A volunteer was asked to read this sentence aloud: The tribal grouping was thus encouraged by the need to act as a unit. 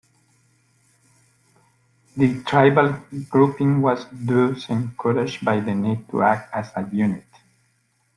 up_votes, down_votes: 1, 2